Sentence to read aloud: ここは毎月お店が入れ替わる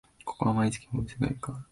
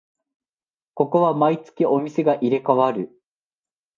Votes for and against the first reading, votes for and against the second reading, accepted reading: 1, 2, 2, 0, second